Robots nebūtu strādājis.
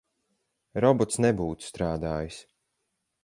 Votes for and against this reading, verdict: 4, 0, accepted